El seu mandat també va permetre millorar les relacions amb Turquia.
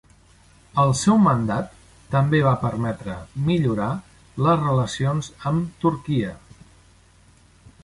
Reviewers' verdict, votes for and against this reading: accepted, 2, 0